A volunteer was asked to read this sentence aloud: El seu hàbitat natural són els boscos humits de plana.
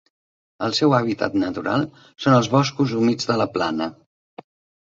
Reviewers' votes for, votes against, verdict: 1, 2, rejected